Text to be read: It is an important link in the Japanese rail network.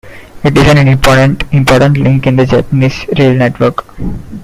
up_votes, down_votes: 0, 2